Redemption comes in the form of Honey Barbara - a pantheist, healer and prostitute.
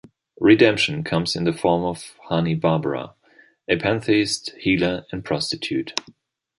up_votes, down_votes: 2, 0